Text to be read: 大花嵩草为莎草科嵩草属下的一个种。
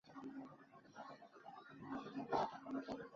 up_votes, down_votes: 1, 2